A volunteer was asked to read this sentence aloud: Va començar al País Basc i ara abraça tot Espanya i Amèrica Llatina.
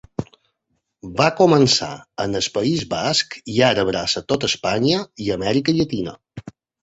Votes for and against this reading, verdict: 2, 1, accepted